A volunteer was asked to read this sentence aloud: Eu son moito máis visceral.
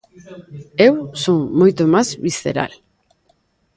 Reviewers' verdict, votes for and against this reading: rejected, 1, 2